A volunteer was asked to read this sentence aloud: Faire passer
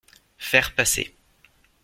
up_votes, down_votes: 2, 0